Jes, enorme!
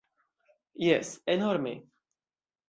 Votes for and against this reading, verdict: 2, 0, accepted